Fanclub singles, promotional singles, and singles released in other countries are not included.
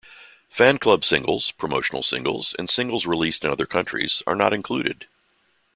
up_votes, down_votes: 2, 0